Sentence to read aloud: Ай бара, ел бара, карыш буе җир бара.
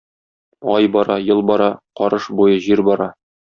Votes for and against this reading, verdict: 2, 0, accepted